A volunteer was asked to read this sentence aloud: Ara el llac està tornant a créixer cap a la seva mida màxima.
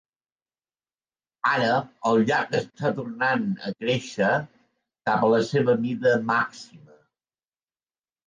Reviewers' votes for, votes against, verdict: 0, 2, rejected